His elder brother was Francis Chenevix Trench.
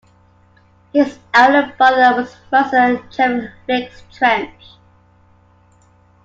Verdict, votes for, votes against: rejected, 1, 2